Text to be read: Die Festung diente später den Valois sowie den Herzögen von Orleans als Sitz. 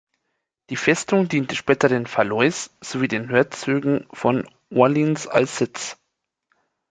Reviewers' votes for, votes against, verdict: 1, 2, rejected